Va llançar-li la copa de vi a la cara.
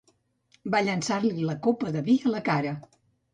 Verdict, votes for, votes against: accepted, 2, 0